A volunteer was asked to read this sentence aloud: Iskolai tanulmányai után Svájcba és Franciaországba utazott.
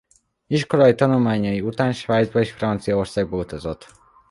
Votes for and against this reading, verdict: 2, 0, accepted